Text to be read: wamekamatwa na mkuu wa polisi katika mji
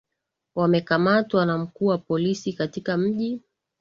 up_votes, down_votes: 3, 0